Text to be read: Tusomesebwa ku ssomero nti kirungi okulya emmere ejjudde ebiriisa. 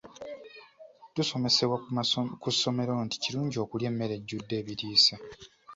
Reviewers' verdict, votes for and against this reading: rejected, 1, 2